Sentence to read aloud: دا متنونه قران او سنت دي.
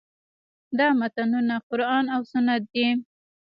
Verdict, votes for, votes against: rejected, 1, 2